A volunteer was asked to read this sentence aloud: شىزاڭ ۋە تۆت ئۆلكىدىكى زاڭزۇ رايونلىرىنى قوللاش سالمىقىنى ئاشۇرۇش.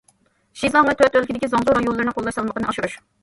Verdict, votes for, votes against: rejected, 1, 2